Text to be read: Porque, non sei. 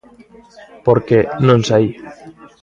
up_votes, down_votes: 2, 0